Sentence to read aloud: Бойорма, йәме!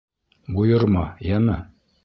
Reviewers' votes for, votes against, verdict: 1, 2, rejected